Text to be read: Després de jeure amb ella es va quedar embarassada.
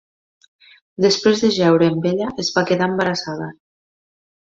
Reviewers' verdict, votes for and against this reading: accepted, 2, 0